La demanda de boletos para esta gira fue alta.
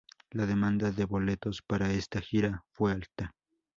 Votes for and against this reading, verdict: 0, 2, rejected